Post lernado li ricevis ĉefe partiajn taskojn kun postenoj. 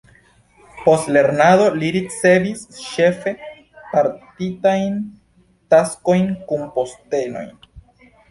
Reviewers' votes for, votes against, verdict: 0, 2, rejected